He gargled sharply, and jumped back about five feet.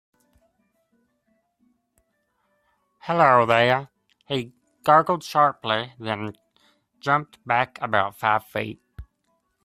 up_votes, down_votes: 0, 2